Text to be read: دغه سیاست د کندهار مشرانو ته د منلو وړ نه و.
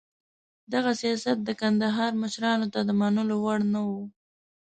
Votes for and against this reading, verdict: 2, 0, accepted